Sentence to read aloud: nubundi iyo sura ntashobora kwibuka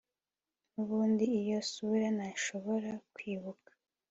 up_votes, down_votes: 3, 0